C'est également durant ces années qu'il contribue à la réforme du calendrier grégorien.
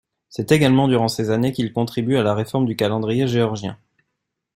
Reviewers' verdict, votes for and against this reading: rejected, 1, 2